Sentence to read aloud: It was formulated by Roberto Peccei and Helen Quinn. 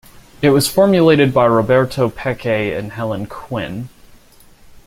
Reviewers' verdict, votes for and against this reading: accepted, 2, 0